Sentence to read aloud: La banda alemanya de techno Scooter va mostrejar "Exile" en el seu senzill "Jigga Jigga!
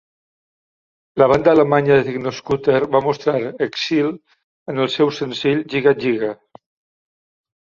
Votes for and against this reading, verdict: 0, 2, rejected